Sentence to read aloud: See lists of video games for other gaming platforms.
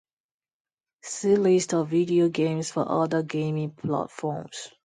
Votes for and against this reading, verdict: 2, 2, rejected